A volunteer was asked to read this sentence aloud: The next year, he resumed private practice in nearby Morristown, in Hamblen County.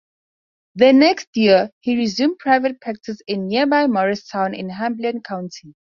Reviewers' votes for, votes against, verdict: 4, 0, accepted